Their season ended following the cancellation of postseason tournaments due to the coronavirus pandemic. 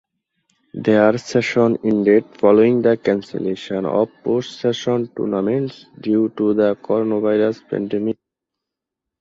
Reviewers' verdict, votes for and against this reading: rejected, 0, 2